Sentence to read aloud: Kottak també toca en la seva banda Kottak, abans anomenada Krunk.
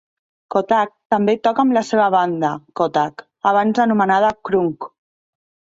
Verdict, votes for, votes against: accepted, 2, 0